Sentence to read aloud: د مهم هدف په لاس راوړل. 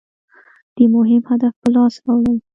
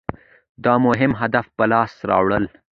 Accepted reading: second